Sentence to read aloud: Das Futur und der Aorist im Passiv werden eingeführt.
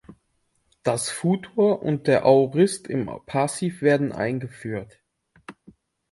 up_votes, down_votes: 2, 1